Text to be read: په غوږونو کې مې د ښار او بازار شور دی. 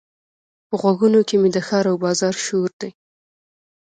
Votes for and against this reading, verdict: 2, 0, accepted